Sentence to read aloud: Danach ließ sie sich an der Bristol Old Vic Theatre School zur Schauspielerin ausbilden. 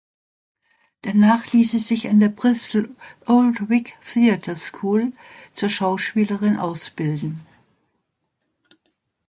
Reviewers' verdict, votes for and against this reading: accepted, 2, 0